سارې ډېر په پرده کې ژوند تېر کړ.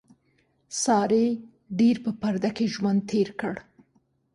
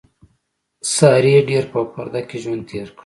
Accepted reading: first